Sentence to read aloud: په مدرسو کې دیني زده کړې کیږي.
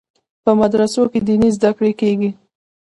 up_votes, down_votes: 0, 2